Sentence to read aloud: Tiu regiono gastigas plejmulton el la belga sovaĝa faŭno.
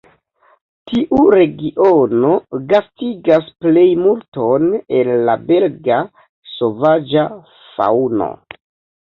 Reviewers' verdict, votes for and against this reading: rejected, 1, 2